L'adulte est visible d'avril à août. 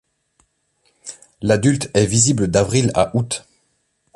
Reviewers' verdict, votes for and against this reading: accepted, 2, 0